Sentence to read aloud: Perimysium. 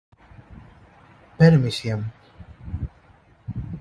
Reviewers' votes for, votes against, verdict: 2, 0, accepted